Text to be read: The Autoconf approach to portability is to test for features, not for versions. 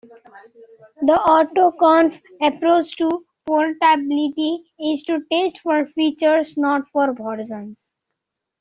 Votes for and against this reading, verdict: 1, 2, rejected